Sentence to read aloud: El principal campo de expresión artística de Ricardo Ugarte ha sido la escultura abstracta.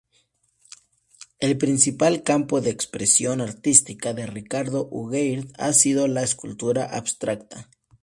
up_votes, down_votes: 0, 2